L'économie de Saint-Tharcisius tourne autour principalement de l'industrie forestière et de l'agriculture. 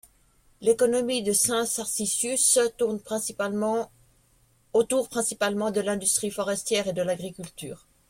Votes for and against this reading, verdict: 1, 2, rejected